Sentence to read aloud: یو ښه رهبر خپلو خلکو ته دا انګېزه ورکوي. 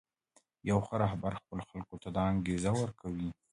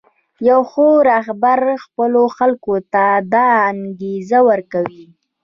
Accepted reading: first